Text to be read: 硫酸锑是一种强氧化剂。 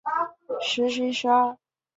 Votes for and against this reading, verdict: 0, 3, rejected